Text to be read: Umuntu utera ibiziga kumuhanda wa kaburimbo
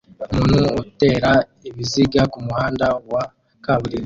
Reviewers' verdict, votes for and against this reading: rejected, 0, 2